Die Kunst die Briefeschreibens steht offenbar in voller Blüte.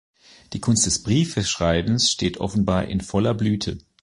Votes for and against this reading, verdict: 1, 2, rejected